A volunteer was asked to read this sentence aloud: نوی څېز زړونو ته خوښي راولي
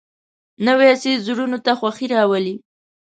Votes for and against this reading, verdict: 2, 0, accepted